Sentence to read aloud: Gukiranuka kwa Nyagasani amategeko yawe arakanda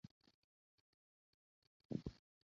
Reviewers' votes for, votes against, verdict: 0, 2, rejected